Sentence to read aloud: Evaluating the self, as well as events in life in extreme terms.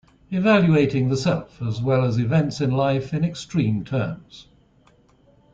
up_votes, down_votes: 2, 0